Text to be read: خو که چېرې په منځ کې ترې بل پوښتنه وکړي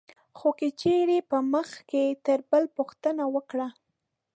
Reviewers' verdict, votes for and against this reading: rejected, 1, 2